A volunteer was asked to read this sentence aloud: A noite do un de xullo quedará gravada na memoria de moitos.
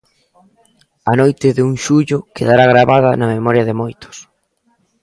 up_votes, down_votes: 0, 3